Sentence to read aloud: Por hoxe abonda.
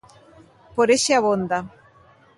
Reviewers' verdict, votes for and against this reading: rejected, 0, 2